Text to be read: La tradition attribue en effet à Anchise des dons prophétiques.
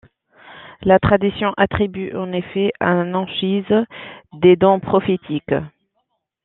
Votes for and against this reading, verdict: 1, 2, rejected